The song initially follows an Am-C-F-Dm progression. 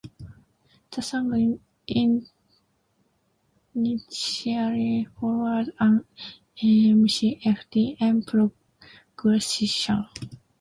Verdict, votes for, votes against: rejected, 0, 2